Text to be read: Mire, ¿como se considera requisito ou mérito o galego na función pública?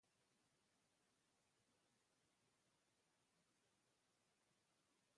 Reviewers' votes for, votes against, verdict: 0, 2, rejected